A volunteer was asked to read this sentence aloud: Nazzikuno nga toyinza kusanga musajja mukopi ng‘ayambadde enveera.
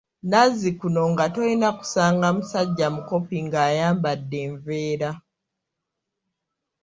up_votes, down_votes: 2, 0